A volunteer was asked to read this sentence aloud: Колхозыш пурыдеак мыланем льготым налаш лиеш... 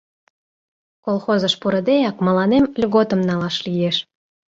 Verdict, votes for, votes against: accepted, 2, 0